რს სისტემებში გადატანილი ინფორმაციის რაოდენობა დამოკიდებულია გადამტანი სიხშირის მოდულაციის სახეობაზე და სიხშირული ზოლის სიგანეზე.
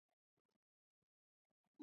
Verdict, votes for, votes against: rejected, 0, 2